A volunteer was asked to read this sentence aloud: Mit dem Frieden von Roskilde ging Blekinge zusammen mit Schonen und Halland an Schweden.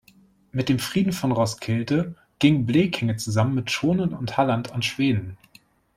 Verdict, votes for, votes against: accepted, 2, 0